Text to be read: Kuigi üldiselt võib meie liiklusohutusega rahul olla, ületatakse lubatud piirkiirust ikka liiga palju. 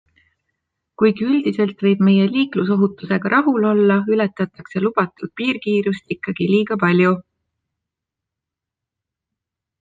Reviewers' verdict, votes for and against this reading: accepted, 2, 0